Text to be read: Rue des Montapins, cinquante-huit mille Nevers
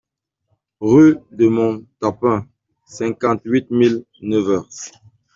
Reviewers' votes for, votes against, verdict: 0, 2, rejected